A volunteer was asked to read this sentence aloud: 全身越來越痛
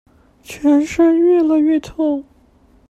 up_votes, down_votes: 0, 2